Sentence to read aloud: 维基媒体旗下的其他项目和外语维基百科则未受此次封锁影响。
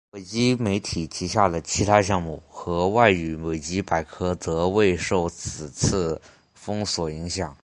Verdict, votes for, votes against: accepted, 5, 0